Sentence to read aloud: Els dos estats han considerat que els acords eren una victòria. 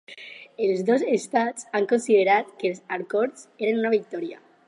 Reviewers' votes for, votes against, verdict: 2, 2, rejected